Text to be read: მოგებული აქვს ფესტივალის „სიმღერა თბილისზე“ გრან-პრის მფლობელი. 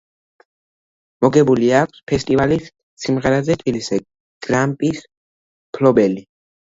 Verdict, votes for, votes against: rejected, 1, 2